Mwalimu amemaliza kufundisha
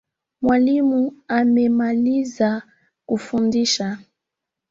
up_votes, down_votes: 2, 1